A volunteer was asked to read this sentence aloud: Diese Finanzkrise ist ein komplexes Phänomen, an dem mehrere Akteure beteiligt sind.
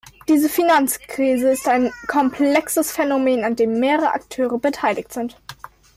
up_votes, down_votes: 2, 0